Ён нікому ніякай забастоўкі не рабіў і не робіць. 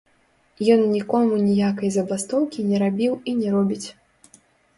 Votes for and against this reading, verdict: 0, 2, rejected